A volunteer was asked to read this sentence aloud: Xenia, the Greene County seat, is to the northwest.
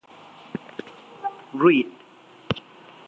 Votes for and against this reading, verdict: 0, 2, rejected